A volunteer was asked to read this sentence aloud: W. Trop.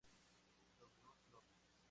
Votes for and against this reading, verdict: 0, 2, rejected